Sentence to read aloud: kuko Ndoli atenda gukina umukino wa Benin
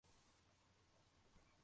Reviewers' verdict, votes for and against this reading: rejected, 0, 2